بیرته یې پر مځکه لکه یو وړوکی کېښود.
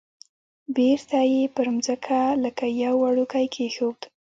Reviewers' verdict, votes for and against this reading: rejected, 1, 2